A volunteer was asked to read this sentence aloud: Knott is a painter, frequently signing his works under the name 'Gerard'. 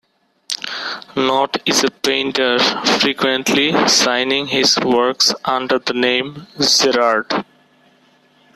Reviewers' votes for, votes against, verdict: 1, 2, rejected